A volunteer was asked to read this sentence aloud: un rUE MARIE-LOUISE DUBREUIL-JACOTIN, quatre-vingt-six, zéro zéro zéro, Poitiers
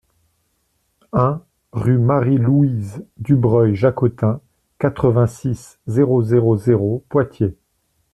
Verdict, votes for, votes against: accepted, 2, 0